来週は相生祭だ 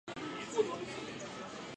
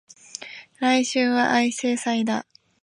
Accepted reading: second